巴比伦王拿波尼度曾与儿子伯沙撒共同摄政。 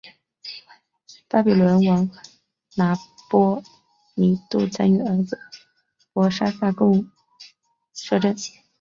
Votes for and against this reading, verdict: 0, 2, rejected